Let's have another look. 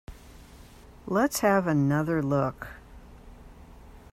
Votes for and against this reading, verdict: 2, 1, accepted